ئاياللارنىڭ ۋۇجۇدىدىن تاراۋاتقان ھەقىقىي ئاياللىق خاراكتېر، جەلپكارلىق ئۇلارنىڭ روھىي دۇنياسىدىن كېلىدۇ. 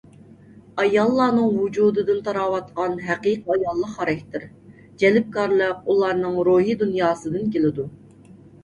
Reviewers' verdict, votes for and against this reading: accepted, 2, 0